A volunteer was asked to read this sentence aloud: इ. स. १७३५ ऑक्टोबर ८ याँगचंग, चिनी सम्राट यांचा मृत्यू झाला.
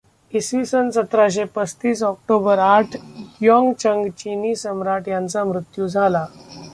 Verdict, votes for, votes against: rejected, 0, 2